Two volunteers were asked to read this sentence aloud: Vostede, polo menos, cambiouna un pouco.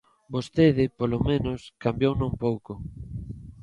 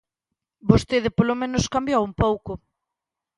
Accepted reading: first